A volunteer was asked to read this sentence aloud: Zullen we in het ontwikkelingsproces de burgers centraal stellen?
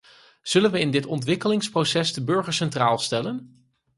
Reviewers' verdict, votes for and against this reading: rejected, 0, 4